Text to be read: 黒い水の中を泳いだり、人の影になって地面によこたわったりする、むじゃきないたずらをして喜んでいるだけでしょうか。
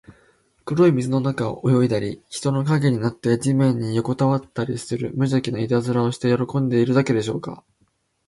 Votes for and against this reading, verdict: 2, 0, accepted